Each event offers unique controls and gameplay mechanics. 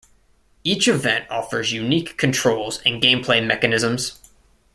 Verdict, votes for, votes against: rejected, 1, 2